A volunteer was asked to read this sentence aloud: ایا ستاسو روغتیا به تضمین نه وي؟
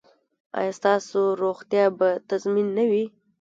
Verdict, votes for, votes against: rejected, 1, 2